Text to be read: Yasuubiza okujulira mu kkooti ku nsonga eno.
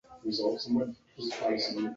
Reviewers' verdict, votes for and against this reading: rejected, 0, 2